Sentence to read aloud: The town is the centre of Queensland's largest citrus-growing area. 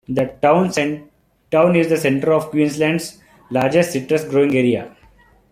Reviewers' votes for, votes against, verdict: 0, 2, rejected